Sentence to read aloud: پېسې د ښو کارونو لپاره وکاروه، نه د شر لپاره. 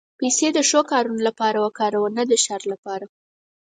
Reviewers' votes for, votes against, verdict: 4, 0, accepted